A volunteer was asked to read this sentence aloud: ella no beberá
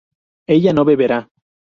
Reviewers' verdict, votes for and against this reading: accepted, 6, 0